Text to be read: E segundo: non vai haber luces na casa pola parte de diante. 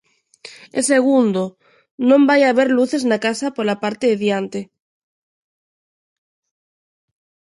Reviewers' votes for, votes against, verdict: 2, 0, accepted